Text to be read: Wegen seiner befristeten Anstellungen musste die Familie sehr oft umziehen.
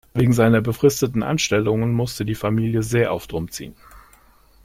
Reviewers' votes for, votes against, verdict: 2, 0, accepted